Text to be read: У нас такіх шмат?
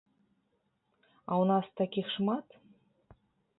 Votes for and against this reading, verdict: 0, 2, rejected